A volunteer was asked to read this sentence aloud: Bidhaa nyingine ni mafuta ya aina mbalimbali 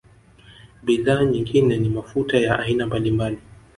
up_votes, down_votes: 2, 1